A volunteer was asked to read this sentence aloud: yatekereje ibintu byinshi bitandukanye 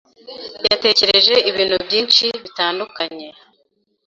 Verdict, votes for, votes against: accepted, 2, 0